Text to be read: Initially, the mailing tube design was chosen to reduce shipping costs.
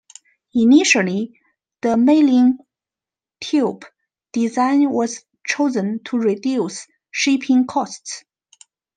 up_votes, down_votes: 2, 0